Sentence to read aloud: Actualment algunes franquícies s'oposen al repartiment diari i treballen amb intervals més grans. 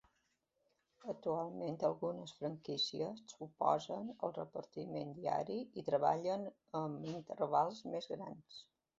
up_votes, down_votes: 3, 0